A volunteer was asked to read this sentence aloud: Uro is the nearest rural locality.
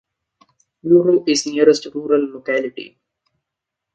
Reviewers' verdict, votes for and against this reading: accepted, 2, 1